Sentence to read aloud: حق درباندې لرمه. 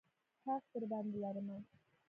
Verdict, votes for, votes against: rejected, 1, 2